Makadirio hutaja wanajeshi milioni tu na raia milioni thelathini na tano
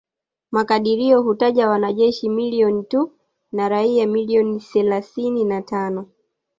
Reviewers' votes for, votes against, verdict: 1, 2, rejected